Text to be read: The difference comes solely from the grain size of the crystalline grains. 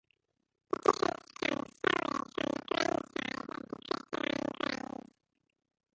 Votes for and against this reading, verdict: 0, 2, rejected